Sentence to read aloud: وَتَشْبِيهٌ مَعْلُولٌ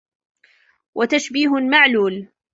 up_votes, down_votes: 2, 0